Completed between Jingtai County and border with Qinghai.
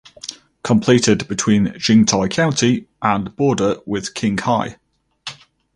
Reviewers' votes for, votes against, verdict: 4, 0, accepted